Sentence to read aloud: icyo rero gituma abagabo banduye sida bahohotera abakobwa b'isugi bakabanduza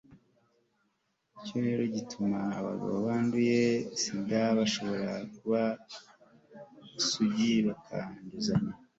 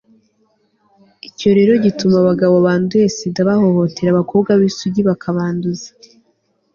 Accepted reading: second